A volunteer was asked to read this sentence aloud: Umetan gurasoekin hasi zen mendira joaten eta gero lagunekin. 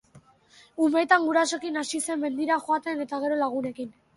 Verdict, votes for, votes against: accepted, 3, 0